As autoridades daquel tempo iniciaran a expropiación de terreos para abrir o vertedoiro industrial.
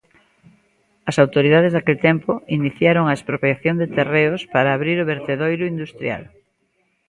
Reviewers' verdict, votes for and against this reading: rejected, 0, 2